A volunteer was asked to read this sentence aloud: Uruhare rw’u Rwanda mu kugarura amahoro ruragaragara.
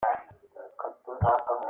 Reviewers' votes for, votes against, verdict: 0, 4, rejected